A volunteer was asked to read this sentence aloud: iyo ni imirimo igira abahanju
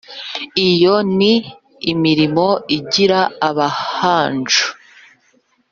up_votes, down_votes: 2, 0